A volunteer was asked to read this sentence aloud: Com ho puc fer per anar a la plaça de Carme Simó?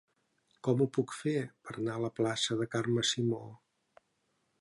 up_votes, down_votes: 1, 2